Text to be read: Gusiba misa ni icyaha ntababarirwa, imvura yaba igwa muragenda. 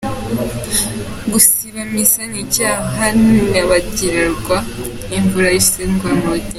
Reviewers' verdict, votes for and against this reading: rejected, 0, 2